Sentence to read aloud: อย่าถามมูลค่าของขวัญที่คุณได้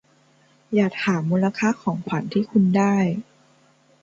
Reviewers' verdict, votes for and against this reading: accepted, 2, 1